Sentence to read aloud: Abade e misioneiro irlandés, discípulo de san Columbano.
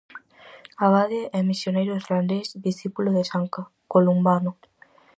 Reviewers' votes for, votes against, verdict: 2, 2, rejected